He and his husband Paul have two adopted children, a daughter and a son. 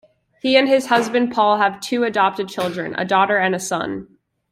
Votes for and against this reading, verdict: 2, 0, accepted